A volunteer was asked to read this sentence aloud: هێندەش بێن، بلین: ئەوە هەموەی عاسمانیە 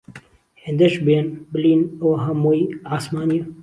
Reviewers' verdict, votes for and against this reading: rejected, 1, 2